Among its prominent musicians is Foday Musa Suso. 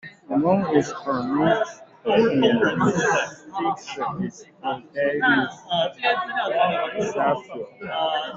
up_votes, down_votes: 0, 2